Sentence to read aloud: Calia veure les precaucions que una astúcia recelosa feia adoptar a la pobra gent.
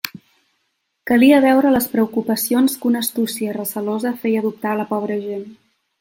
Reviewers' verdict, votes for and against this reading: rejected, 1, 2